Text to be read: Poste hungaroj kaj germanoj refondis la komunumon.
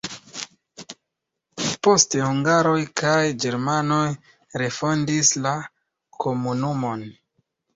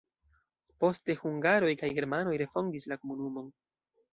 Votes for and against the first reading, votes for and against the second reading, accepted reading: 1, 2, 2, 1, second